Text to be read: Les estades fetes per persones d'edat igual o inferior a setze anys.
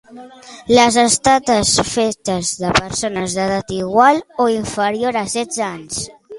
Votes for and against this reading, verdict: 0, 2, rejected